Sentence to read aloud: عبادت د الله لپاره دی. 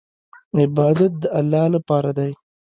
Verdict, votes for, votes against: accepted, 2, 1